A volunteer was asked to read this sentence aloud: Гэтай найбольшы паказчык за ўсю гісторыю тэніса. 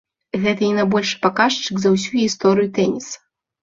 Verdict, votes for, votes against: rejected, 1, 2